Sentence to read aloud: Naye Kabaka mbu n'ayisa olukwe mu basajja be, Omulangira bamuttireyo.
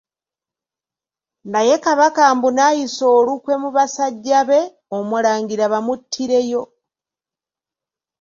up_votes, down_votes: 2, 0